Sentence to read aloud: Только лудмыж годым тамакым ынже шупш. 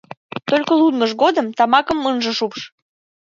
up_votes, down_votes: 2, 3